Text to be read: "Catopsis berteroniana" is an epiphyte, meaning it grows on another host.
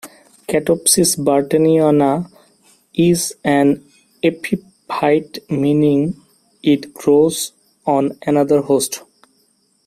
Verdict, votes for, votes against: rejected, 1, 2